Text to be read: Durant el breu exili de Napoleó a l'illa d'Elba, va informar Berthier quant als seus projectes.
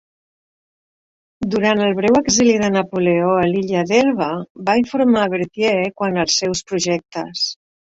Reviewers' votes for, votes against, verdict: 2, 0, accepted